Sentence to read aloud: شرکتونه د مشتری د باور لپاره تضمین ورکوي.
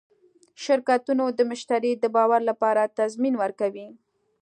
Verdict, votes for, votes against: accepted, 2, 0